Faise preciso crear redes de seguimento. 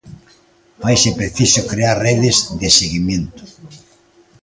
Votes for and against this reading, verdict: 0, 2, rejected